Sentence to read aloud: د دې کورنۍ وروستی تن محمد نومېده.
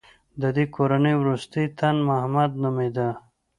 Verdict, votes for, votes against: accepted, 2, 0